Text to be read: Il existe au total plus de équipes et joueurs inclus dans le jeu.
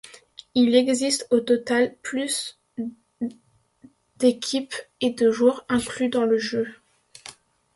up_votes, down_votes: 0, 2